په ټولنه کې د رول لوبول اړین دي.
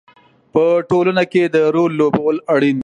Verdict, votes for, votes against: rejected, 1, 2